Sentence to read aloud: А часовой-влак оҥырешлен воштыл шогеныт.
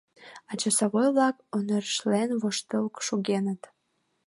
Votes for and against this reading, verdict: 2, 1, accepted